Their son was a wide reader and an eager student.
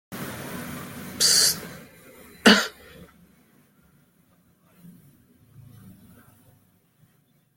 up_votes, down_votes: 0, 2